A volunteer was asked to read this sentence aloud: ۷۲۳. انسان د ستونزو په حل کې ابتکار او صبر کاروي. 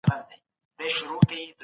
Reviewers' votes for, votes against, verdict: 0, 2, rejected